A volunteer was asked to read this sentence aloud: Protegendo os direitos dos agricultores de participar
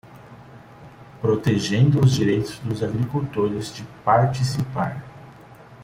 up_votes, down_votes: 2, 0